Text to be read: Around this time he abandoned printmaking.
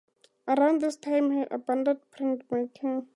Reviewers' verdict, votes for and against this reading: accepted, 4, 0